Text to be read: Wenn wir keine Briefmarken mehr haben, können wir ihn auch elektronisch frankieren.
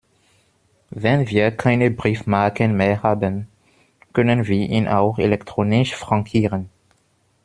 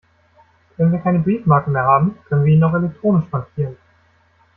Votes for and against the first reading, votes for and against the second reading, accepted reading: 1, 2, 2, 0, second